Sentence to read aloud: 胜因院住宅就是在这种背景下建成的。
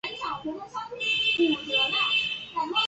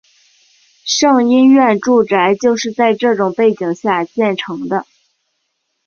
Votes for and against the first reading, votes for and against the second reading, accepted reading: 0, 2, 3, 0, second